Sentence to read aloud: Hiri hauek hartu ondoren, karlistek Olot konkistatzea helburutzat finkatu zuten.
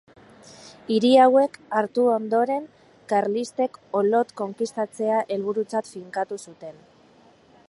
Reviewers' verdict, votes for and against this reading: accepted, 2, 0